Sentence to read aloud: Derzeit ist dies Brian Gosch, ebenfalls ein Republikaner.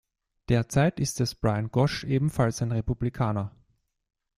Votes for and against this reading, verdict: 0, 2, rejected